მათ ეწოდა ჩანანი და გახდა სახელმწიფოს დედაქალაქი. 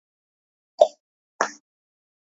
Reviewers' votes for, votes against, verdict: 1, 2, rejected